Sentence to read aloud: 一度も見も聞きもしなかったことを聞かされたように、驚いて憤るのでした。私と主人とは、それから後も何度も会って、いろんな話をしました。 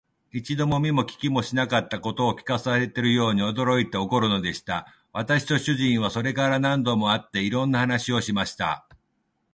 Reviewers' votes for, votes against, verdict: 3, 1, accepted